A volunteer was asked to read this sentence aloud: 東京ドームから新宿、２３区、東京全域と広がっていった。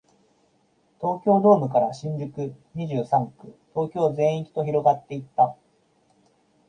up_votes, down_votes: 0, 2